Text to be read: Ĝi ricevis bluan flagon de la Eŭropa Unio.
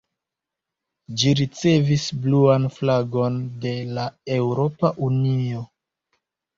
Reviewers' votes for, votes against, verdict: 1, 2, rejected